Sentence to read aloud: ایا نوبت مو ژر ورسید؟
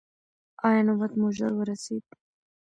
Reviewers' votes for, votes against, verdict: 2, 0, accepted